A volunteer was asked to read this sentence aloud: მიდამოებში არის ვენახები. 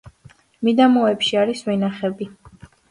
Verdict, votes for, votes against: accepted, 2, 0